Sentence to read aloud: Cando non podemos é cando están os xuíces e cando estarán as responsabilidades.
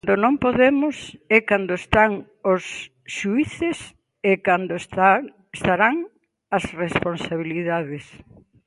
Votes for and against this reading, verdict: 1, 2, rejected